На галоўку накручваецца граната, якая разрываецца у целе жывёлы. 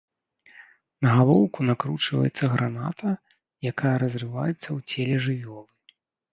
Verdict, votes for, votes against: accepted, 2, 0